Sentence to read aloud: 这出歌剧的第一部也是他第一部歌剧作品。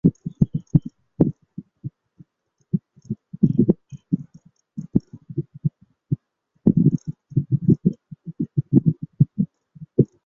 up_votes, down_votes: 0, 3